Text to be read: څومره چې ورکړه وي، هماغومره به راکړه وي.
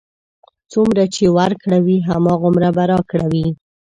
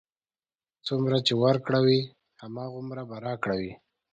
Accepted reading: second